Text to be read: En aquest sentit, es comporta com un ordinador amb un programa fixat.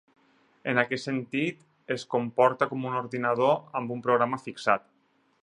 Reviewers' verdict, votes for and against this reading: accepted, 6, 0